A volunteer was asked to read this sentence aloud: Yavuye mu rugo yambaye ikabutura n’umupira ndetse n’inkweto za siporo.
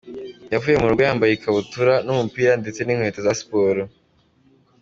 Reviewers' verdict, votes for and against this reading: accepted, 3, 1